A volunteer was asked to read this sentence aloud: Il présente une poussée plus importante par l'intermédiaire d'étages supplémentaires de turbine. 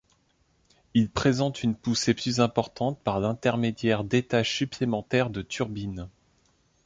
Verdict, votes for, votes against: accepted, 2, 0